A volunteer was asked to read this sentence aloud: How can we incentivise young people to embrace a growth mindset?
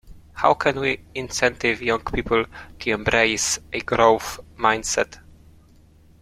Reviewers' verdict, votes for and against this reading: rejected, 0, 2